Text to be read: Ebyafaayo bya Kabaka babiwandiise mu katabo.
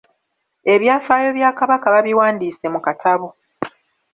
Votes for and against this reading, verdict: 2, 0, accepted